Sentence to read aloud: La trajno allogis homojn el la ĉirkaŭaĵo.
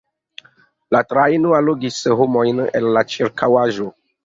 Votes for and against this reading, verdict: 2, 0, accepted